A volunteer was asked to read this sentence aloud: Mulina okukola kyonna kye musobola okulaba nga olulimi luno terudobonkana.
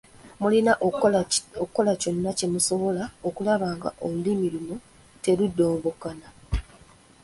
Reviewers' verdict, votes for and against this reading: rejected, 1, 2